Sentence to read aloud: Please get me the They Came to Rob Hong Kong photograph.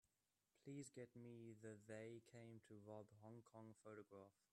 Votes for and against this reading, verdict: 1, 2, rejected